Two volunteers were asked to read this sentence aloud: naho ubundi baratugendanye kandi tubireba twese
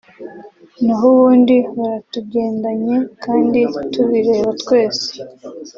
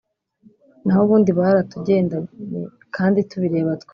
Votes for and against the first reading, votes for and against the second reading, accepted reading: 4, 0, 2, 3, first